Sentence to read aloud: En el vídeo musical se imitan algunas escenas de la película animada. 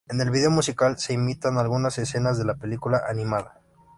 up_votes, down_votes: 2, 0